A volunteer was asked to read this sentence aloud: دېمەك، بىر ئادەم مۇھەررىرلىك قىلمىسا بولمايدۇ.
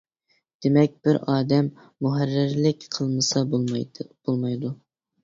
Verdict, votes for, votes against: rejected, 1, 2